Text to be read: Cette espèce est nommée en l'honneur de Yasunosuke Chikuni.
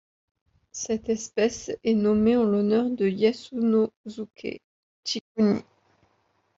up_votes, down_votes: 0, 2